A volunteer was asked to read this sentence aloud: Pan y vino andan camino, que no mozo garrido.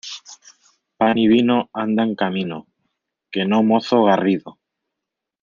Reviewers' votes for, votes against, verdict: 2, 1, accepted